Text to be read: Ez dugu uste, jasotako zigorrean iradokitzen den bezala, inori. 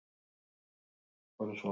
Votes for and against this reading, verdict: 0, 4, rejected